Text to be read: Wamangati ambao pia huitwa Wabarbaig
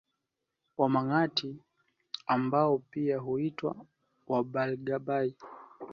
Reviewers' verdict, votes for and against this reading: rejected, 0, 2